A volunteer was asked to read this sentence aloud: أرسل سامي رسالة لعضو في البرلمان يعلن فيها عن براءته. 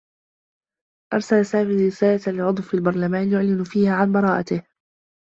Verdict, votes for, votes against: rejected, 1, 2